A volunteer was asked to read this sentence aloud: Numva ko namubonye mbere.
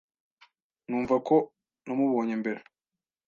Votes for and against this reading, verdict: 2, 0, accepted